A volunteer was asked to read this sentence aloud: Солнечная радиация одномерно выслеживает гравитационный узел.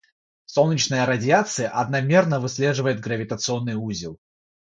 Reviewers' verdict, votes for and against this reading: accepted, 6, 0